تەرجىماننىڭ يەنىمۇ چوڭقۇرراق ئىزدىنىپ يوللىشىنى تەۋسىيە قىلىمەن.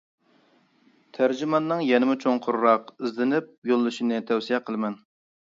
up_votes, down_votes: 2, 0